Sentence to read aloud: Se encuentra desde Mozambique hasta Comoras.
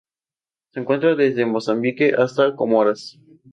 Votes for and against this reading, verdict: 2, 0, accepted